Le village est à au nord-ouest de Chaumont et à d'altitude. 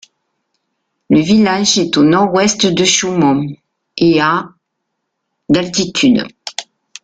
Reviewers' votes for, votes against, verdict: 0, 2, rejected